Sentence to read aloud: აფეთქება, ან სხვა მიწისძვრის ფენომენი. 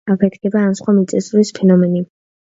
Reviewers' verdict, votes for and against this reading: accepted, 2, 0